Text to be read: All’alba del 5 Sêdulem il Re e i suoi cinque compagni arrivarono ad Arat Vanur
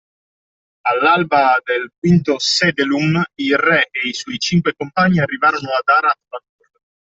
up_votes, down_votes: 0, 2